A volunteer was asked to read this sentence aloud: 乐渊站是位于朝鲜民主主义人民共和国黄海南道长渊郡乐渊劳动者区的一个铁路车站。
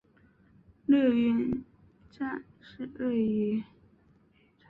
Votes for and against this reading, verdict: 0, 2, rejected